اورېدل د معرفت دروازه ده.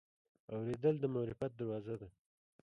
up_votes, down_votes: 1, 2